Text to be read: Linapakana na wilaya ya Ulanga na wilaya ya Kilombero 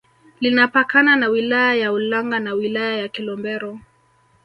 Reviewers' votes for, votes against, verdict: 2, 0, accepted